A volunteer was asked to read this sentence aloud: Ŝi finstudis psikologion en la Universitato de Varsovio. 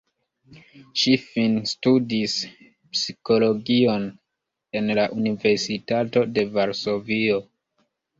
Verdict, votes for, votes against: accepted, 2, 1